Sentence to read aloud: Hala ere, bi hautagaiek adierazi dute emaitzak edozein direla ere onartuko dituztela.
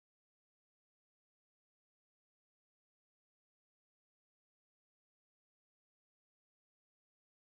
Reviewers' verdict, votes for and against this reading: rejected, 0, 2